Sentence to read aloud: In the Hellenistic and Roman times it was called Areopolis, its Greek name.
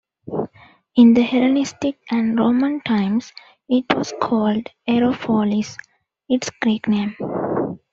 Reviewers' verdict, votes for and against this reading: accepted, 2, 1